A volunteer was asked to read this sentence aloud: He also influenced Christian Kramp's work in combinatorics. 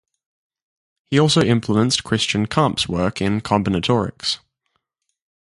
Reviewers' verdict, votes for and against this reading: rejected, 0, 2